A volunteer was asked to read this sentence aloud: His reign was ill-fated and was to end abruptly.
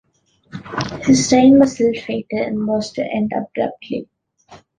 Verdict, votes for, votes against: accepted, 2, 1